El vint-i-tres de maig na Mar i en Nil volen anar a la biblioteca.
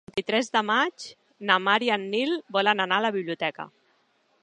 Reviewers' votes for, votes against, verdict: 0, 2, rejected